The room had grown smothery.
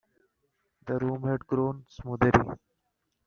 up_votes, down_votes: 1, 2